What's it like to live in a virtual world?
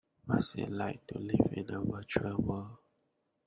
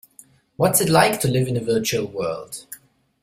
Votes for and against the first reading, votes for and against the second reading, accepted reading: 1, 2, 2, 0, second